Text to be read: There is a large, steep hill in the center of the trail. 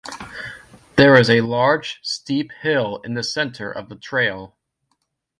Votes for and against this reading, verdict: 2, 0, accepted